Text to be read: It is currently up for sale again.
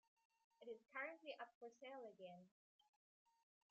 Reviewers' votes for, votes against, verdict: 1, 2, rejected